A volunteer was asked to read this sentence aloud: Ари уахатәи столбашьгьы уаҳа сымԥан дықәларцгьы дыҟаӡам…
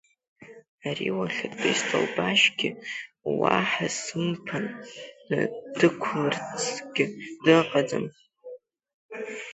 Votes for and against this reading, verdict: 0, 2, rejected